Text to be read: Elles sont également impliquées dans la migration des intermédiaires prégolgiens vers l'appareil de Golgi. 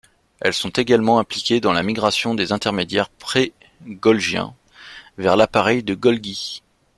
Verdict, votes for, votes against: accepted, 2, 0